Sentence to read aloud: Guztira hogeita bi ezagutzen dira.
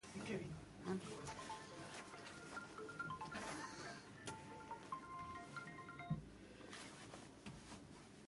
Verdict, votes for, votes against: rejected, 0, 2